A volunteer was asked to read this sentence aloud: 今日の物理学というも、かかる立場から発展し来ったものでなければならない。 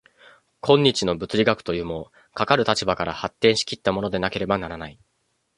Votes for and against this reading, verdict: 1, 2, rejected